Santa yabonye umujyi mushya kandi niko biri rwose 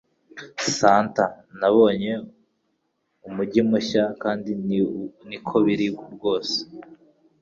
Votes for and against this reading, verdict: 1, 3, rejected